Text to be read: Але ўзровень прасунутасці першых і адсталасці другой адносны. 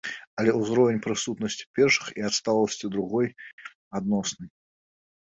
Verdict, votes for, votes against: rejected, 1, 2